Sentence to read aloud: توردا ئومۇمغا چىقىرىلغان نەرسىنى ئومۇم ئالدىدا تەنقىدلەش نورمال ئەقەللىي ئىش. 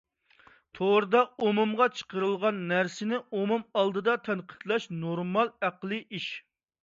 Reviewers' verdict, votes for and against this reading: rejected, 0, 2